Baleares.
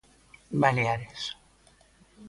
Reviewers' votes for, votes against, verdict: 2, 0, accepted